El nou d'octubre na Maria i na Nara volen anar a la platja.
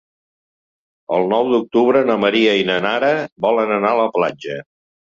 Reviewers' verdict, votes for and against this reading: accepted, 3, 0